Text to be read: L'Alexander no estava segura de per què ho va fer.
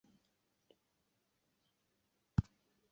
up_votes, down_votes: 0, 3